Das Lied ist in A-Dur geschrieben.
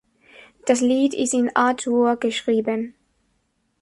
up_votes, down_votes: 2, 0